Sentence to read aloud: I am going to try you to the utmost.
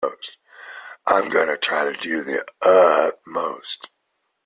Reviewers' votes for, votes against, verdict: 0, 2, rejected